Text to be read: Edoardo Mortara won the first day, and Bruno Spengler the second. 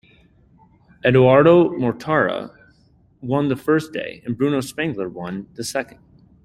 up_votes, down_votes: 1, 2